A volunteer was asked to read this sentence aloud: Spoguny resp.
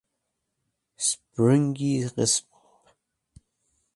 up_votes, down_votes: 1, 2